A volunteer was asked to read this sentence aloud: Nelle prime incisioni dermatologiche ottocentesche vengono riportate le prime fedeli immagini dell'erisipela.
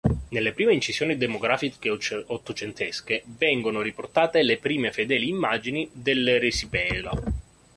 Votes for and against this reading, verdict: 0, 2, rejected